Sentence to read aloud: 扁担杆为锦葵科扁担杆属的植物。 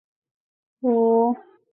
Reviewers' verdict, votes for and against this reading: rejected, 1, 6